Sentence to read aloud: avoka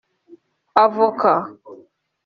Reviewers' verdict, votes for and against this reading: accepted, 3, 0